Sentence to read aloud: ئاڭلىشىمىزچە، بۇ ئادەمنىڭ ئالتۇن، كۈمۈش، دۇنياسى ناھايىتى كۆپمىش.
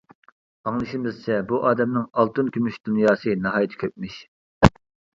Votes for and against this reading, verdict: 2, 0, accepted